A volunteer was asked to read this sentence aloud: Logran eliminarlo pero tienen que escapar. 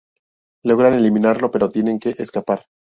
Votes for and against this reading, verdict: 2, 0, accepted